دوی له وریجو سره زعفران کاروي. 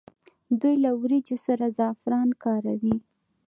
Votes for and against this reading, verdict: 2, 0, accepted